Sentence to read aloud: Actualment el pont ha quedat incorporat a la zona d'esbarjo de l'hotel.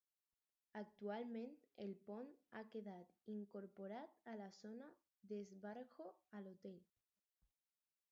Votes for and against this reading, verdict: 0, 4, rejected